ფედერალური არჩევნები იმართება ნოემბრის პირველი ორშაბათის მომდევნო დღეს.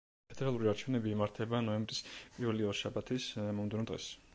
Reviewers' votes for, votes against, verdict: 2, 1, accepted